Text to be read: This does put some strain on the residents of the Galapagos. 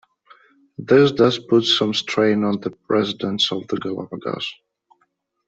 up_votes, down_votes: 2, 0